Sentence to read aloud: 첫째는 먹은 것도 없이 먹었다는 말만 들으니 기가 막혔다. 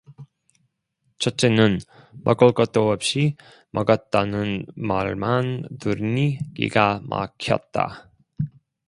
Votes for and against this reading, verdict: 0, 2, rejected